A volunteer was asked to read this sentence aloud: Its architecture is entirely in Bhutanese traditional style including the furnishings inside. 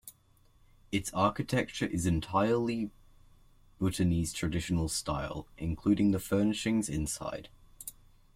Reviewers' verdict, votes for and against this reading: rejected, 0, 2